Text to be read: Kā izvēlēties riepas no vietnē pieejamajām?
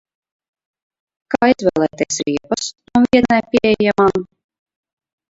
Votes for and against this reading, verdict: 0, 2, rejected